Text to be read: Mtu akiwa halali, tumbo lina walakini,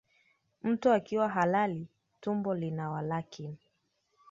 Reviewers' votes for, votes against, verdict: 2, 1, accepted